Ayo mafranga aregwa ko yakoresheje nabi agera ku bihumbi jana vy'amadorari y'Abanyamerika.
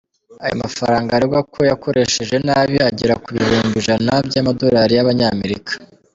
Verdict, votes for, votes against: rejected, 1, 2